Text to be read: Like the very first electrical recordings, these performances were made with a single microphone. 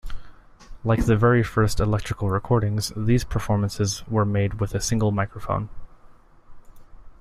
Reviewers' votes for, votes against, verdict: 2, 0, accepted